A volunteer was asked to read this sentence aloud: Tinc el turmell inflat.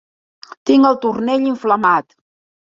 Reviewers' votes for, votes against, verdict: 0, 2, rejected